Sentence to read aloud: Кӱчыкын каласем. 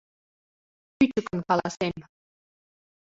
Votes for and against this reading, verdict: 0, 3, rejected